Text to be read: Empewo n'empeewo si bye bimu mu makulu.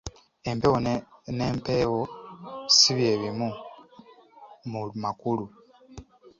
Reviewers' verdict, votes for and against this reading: accepted, 2, 0